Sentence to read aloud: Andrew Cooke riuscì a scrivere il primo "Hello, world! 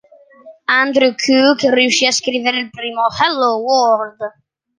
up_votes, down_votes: 2, 0